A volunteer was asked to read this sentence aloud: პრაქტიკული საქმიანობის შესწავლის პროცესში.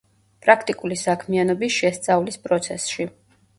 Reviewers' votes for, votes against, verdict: 1, 2, rejected